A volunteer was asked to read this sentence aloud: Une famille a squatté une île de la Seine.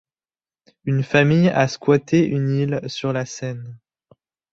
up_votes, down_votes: 0, 2